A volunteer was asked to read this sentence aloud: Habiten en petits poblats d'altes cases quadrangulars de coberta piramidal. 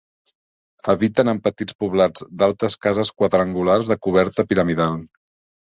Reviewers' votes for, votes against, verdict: 2, 0, accepted